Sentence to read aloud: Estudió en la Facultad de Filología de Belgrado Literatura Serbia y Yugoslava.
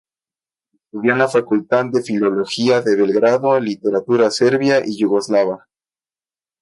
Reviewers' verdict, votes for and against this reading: accepted, 2, 0